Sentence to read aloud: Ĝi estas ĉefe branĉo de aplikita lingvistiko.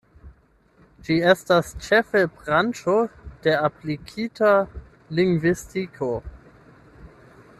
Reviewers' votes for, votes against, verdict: 8, 0, accepted